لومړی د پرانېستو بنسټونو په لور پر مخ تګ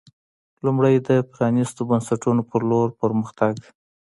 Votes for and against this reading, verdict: 2, 0, accepted